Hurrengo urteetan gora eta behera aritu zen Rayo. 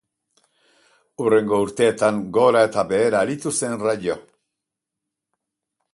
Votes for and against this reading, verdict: 4, 0, accepted